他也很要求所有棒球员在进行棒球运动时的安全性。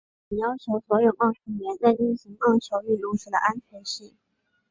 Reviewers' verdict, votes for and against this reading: rejected, 0, 3